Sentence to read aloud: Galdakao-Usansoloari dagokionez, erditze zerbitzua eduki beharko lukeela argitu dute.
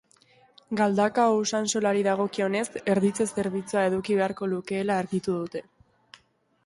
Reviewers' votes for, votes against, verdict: 2, 0, accepted